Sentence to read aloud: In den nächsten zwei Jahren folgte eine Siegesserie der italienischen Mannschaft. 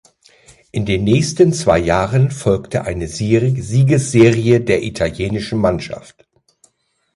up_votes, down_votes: 0, 2